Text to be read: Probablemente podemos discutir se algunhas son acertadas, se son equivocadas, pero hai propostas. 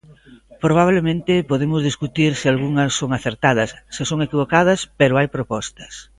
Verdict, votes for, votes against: accepted, 2, 0